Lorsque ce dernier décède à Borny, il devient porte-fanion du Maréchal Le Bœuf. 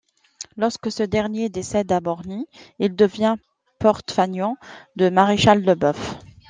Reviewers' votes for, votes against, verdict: 1, 2, rejected